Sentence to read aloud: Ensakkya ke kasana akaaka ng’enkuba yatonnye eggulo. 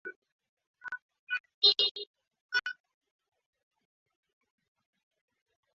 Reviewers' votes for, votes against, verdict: 0, 2, rejected